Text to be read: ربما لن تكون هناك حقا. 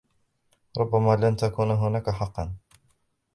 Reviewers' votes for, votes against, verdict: 1, 2, rejected